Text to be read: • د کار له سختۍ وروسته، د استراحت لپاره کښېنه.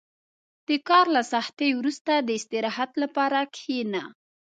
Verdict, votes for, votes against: accepted, 2, 0